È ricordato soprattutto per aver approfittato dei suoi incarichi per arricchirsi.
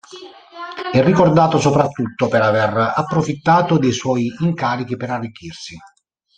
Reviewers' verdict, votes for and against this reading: rejected, 0, 2